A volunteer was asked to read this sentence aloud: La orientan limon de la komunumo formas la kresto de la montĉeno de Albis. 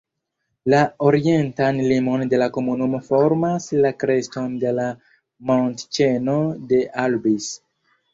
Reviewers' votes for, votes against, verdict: 1, 2, rejected